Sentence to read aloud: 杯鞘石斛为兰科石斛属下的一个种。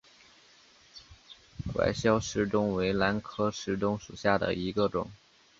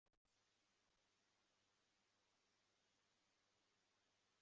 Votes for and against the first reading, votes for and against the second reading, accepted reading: 1, 3, 4, 0, second